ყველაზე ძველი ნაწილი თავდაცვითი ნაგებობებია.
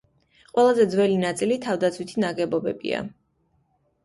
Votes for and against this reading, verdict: 3, 0, accepted